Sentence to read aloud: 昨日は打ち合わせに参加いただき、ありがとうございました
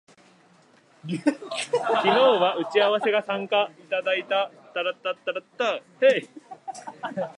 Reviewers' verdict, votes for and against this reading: rejected, 0, 2